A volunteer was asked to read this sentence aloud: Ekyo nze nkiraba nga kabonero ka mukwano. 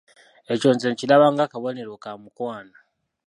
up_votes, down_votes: 0, 2